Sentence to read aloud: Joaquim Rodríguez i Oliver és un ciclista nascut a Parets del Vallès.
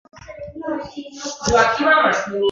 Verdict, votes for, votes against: rejected, 0, 3